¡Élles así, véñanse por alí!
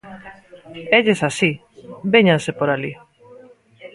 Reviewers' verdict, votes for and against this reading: rejected, 1, 2